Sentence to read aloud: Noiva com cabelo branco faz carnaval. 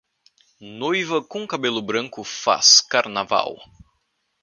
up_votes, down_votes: 2, 0